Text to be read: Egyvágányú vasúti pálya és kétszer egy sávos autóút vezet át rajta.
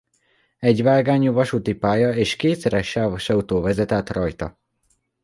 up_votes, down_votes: 0, 2